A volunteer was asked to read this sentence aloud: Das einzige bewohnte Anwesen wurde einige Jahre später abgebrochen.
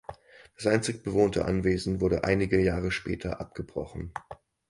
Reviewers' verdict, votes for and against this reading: rejected, 2, 4